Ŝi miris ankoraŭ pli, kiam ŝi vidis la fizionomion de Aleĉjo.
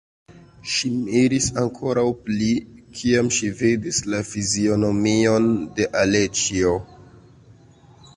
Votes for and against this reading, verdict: 1, 2, rejected